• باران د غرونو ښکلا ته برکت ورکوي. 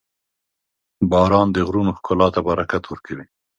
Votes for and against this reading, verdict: 2, 0, accepted